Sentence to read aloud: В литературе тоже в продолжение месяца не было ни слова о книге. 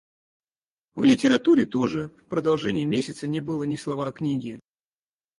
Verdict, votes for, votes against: rejected, 0, 4